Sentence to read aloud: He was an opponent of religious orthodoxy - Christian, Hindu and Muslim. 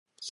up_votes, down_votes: 0, 2